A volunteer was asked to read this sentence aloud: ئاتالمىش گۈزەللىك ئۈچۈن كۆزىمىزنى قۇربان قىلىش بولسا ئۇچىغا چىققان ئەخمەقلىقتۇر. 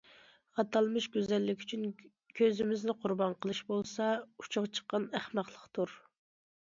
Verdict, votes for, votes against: accepted, 2, 0